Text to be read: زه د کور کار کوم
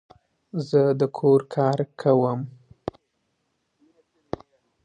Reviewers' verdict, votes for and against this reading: accepted, 2, 0